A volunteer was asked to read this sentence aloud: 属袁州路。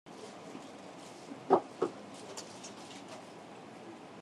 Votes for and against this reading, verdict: 0, 2, rejected